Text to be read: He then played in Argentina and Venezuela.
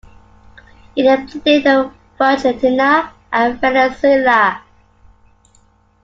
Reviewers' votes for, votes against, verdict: 0, 2, rejected